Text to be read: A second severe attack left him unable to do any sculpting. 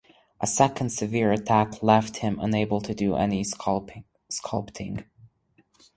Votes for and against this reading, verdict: 2, 2, rejected